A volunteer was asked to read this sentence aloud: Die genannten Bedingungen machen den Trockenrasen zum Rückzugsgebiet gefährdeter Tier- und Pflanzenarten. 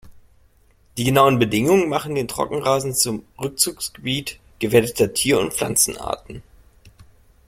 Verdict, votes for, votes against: rejected, 0, 2